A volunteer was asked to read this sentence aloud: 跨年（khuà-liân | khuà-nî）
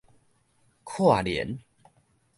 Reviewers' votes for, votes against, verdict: 1, 2, rejected